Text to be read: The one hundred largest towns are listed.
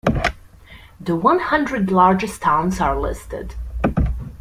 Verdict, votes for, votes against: accepted, 2, 0